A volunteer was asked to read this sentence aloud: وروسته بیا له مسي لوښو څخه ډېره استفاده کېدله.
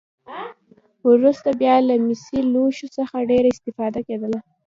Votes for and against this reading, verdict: 2, 1, accepted